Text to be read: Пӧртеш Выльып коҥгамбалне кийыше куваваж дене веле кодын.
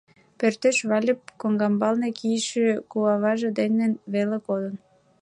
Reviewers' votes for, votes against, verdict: 2, 0, accepted